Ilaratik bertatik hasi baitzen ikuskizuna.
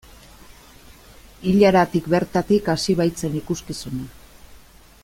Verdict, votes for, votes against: accepted, 2, 0